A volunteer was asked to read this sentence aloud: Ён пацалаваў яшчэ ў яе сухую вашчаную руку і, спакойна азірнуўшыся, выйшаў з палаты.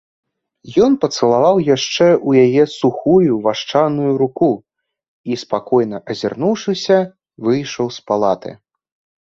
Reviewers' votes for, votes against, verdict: 2, 0, accepted